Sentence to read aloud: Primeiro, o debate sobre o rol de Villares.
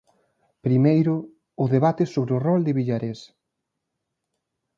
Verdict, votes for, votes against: rejected, 0, 2